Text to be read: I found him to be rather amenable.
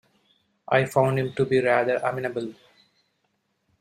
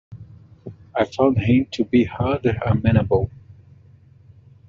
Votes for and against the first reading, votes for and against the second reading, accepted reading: 3, 1, 1, 2, first